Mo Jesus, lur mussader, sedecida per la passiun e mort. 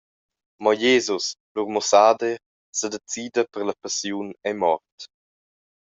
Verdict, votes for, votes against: accepted, 2, 0